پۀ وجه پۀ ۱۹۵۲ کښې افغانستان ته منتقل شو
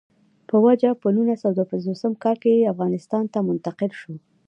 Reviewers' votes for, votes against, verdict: 0, 2, rejected